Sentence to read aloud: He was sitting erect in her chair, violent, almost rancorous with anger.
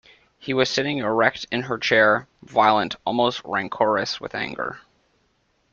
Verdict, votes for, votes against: accepted, 2, 0